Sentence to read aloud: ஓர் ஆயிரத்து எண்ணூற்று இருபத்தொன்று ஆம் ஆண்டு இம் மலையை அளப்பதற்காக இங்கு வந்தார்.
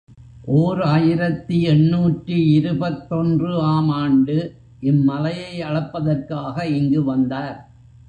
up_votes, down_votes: 2, 0